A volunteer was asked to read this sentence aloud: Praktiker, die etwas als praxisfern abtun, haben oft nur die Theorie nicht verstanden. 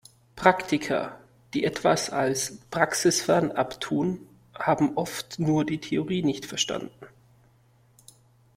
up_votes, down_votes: 2, 0